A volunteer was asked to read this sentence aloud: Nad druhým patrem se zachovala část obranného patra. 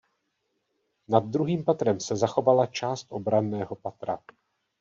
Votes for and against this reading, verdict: 1, 2, rejected